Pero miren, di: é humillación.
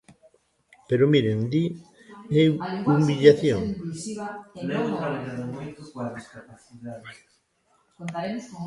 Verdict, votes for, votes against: rejected, 0, 2